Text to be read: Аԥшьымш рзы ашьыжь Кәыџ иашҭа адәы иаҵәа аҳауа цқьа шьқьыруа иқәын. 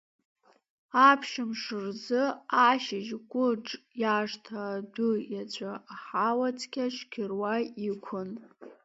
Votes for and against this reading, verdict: 0, 2, rejected